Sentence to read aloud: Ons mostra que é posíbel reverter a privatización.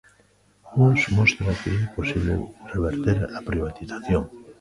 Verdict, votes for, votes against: rejected, 1, 2